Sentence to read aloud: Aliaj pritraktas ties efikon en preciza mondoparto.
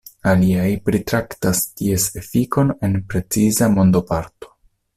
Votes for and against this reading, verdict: 2, 0, accepted